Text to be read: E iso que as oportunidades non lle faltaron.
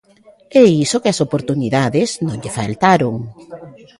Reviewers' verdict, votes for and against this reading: rejected, 1, 2